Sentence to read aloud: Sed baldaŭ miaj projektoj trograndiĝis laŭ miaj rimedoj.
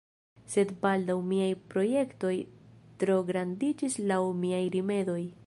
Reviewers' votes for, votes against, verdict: 2, 0, accepted